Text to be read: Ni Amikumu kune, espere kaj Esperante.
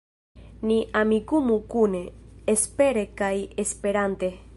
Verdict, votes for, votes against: rejected, 1, 2